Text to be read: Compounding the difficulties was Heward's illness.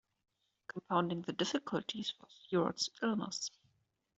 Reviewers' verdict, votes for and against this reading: rejected, 0, 2